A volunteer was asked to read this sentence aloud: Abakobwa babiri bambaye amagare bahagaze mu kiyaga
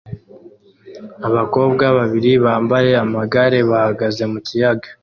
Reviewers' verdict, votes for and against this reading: accepted, 2, 0